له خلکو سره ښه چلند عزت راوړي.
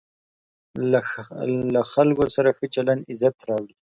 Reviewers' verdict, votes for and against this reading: rejected, 1, 2